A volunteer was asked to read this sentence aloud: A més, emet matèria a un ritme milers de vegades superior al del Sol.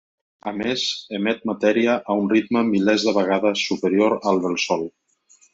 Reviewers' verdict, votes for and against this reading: accepted, 3, 0